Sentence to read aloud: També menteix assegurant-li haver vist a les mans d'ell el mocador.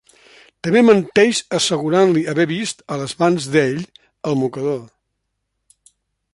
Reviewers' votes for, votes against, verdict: 3, 0, accepted